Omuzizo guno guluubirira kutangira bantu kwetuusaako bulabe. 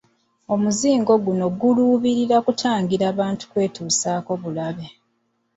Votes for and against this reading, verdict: 1, 2, rejected